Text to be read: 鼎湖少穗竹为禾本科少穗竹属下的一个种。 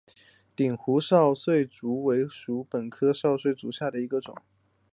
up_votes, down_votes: 1, 2